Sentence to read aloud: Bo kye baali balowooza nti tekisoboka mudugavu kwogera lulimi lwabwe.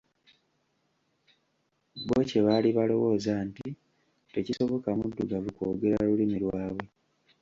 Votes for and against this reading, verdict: 0, 2, rejected